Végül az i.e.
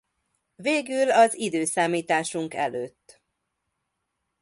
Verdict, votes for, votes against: accepted, 2, 0